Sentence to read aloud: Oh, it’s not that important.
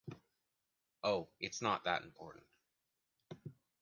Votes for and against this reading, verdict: 2, 0, accepted